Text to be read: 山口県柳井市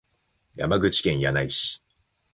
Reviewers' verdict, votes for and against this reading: accepted, 3, 0